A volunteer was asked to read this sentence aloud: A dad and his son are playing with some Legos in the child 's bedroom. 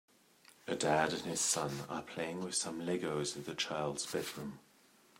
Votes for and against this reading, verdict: 2, 0, accepted